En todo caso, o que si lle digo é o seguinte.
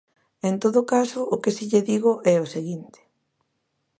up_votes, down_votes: 2, 0